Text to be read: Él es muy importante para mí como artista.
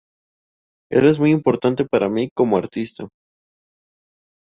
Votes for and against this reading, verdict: 2, 0, accepted